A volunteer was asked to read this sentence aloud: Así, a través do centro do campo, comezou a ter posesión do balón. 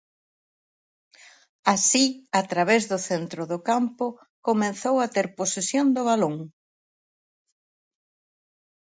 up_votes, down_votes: 4, 0